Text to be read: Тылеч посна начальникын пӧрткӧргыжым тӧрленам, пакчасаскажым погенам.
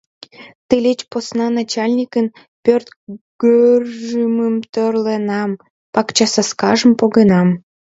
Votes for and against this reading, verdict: 1, 2, rejected